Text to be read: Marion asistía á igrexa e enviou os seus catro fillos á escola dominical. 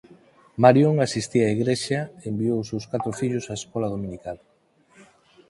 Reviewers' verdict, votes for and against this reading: accepted, 4, 0